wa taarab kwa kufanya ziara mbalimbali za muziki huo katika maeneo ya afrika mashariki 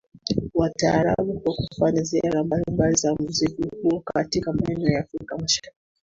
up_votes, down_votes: 2, 1